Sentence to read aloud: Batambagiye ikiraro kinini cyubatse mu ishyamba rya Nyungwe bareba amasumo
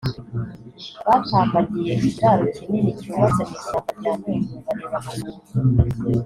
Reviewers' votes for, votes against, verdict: 2, 3, rejected